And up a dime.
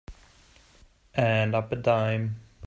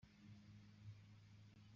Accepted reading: first